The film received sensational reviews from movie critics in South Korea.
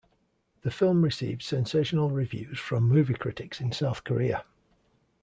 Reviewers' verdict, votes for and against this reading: accepted, 2, 0